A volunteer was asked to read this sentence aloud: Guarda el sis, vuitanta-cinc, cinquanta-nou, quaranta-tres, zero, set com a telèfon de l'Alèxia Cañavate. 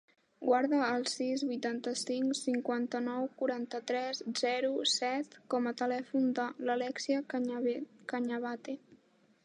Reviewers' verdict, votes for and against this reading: rejected, 1, 2